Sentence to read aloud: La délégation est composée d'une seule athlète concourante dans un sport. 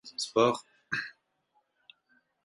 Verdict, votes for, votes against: rejected, 0, 4